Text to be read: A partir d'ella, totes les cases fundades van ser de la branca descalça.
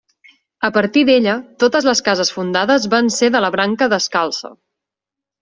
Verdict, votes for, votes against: rejected, 0, 2